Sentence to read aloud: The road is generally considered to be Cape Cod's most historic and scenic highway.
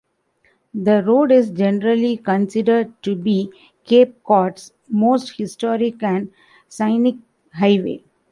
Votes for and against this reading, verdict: 1, 2, rejected